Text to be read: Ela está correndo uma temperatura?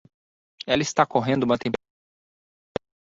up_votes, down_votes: 0, 2